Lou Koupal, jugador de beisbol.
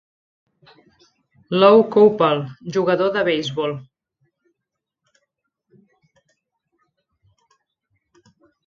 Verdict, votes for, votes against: accepted, 2, 0